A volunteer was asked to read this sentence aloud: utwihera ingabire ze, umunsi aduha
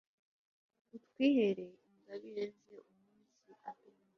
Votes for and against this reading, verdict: 3, 1, accepted